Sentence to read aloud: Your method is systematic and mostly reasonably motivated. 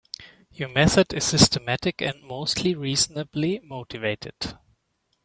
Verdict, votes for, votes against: accepted, 2, 0